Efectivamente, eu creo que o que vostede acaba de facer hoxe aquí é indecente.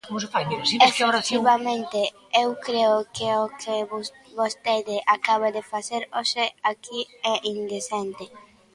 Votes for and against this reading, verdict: 0, 2, rejected